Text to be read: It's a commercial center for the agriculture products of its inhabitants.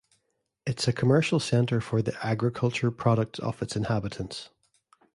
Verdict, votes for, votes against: accepted, 2, 0